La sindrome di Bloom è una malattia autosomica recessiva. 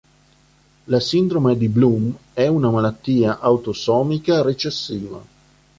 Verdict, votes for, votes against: accepted, 4, 0